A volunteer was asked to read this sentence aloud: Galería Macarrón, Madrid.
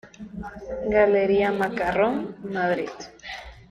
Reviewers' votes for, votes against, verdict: 2, 1, accepted